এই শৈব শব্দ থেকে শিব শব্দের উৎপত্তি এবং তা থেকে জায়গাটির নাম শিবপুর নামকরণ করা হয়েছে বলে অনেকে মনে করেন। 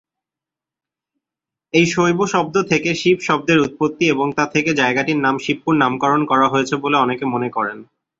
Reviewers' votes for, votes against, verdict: 2, 0, accepted